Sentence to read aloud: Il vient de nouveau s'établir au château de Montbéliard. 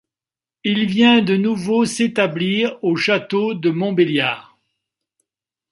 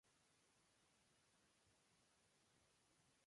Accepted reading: first